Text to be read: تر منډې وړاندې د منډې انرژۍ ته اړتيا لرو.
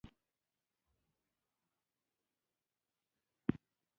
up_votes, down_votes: 1, 2